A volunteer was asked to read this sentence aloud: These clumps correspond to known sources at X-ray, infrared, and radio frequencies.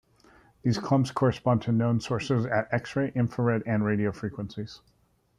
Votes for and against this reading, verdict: 2, 0, accepted